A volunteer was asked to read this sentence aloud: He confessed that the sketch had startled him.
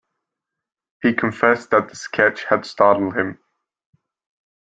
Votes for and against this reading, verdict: 2, 0, accepted